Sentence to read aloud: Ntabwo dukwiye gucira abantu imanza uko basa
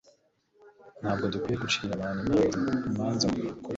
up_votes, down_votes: 1, 2